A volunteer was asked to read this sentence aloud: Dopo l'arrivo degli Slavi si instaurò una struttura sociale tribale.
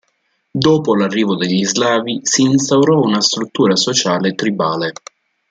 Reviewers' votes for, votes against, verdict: 2, 0, accepted